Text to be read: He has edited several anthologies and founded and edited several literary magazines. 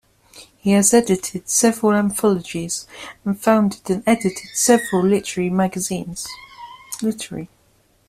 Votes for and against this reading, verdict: 0, 2, rejected